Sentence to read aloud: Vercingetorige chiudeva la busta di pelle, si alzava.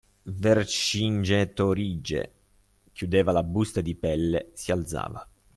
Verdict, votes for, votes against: accepted, 2, 1